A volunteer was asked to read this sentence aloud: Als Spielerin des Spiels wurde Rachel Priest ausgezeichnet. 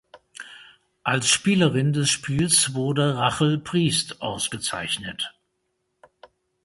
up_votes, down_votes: 2, 0